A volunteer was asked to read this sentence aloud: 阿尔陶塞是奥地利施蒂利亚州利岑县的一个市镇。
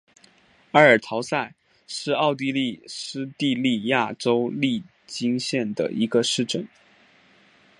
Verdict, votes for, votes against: rejected, 0, 2